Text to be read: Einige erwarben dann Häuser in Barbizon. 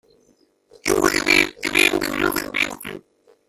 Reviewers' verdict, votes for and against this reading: rejected, 0, 2